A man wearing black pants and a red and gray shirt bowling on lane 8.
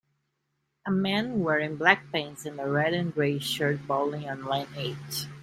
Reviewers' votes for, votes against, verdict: 0, 2, rejected